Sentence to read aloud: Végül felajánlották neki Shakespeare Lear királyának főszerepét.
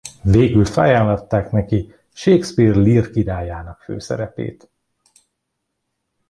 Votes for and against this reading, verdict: 1, 2, rejected